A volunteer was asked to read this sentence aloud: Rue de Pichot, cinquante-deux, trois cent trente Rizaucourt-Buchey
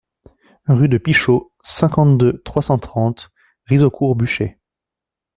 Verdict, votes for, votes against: accepted, 2, 0